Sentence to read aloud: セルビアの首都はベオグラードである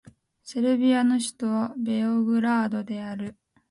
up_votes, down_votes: 8, 0